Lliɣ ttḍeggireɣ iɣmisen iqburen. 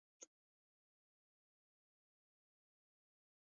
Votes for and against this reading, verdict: 0, 2, rejected